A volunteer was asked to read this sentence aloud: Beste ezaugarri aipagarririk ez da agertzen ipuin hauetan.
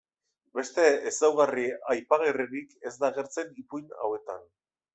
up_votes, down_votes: 1, 2